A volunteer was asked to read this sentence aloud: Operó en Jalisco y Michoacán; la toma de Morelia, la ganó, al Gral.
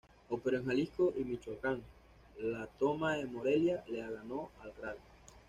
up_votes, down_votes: 2, 0